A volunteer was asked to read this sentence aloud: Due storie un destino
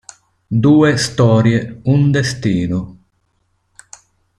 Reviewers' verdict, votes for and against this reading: accepted, 2, 0